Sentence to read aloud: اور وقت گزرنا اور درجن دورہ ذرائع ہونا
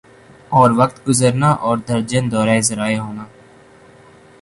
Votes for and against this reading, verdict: 2, 0, accepted